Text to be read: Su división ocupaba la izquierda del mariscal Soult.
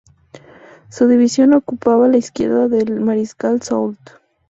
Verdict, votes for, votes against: accepted, 4, 0